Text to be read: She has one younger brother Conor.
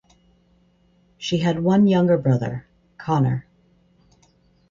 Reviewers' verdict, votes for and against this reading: rejected, 2, 4